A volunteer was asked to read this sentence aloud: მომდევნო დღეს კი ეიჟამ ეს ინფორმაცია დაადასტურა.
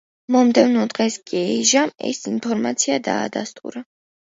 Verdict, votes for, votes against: accepted, 2, 0